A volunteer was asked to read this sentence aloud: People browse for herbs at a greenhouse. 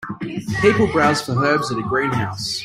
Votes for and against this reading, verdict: 0, 2, rejected